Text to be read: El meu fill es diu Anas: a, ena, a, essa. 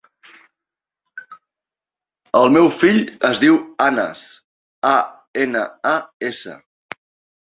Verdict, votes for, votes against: accepted, 5, 0